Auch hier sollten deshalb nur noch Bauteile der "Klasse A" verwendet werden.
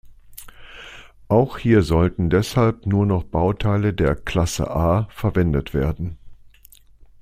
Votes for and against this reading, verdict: 2, 0, accepted